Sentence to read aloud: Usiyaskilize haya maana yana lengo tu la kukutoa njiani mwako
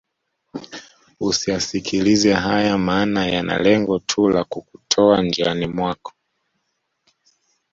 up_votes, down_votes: 2, 1